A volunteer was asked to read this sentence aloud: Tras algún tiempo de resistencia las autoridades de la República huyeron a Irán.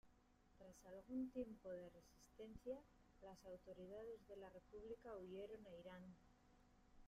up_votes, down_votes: 0, 2